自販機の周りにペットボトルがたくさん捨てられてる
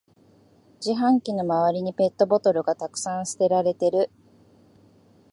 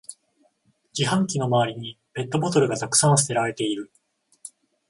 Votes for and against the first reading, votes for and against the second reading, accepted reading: 2, 1, 0, 14, first